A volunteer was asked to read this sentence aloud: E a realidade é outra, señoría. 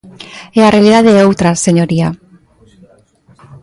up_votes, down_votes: 2, 0